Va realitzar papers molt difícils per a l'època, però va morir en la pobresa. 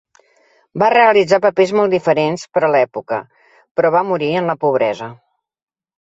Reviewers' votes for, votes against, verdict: 0, 2, rejected